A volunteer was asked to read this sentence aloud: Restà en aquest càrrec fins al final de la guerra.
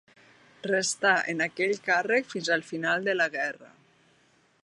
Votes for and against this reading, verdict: 1, 2, rejected